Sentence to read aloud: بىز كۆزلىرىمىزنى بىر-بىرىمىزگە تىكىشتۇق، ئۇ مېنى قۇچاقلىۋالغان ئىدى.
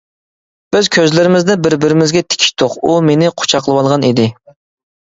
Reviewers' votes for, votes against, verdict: 2, 0, accepted